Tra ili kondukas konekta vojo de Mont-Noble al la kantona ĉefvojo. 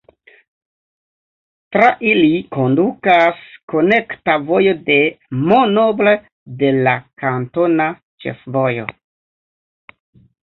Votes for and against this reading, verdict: 0, 2, rejected